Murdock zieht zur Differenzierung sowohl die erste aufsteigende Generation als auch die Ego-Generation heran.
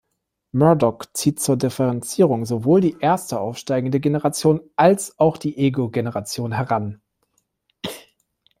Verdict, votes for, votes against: accepted, 2, 0